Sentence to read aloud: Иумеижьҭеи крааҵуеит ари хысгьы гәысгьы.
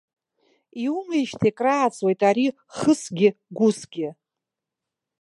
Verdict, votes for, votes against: accepted, 2, 0